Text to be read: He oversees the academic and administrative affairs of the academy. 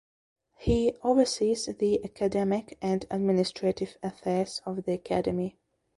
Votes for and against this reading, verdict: 2, 0, accepted